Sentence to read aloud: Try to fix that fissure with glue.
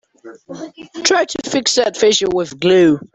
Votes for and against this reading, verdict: 2, 0, accepted